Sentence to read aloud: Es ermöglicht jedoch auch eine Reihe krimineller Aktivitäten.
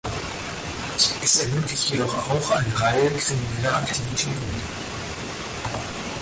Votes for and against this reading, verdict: 2, 4, rejected